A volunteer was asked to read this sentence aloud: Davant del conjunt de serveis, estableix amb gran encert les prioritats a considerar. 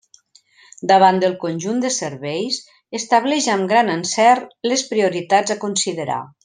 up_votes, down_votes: 3, 0